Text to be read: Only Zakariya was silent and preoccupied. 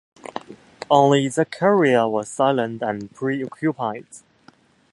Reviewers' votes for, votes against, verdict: 0, 2, rejected